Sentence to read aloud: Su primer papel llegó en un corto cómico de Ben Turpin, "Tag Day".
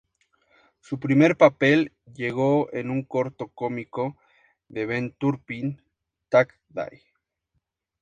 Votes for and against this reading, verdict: 2, 0, accepted